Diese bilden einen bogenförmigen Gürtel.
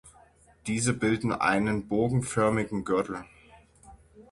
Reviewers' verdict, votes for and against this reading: accepted, 6, 0